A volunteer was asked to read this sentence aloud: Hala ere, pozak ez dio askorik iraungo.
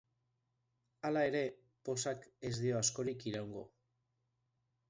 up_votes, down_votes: 2, 0